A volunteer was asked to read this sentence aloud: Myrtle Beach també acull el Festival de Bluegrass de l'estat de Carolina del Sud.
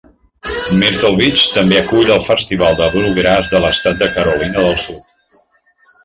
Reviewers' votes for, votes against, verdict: 1, 3, rejected